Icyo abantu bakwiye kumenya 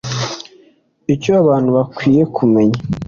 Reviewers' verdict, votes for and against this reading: accepted, 2, 0